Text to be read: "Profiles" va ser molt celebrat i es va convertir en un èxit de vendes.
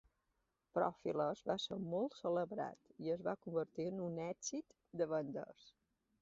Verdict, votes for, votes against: accepted, 2, 0